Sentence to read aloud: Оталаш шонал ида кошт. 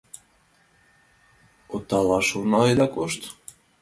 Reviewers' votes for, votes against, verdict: 0, 2, rejected